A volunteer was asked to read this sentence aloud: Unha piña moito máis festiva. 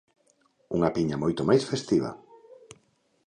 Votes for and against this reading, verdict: 2, 0, accepted